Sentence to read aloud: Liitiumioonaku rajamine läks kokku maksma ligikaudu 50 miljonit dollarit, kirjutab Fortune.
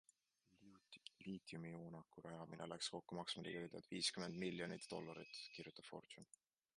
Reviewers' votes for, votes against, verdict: 0, 2, rejected